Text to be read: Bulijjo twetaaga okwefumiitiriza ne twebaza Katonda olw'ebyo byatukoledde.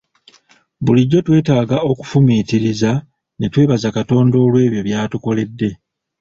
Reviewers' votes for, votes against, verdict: 1, 2, rejected